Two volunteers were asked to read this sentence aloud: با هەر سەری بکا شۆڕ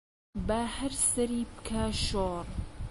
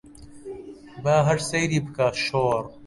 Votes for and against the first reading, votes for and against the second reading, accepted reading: 2, 0, 0, 2, first